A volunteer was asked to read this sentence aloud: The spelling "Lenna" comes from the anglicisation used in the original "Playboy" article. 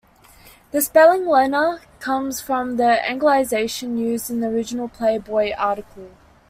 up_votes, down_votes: 0, 2